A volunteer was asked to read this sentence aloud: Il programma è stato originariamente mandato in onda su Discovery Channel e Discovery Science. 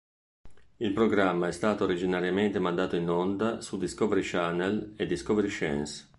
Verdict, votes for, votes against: rejected, 2, 3